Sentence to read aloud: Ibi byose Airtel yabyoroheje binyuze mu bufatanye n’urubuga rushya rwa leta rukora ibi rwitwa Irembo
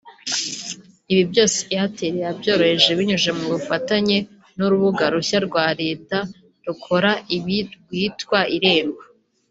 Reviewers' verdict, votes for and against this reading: accepted, 2, 1